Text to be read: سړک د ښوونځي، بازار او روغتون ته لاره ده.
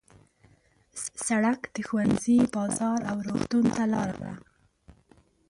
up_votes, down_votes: 2, 0